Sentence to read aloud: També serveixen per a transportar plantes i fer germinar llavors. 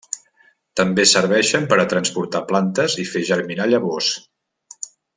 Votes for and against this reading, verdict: 6, 0, accepted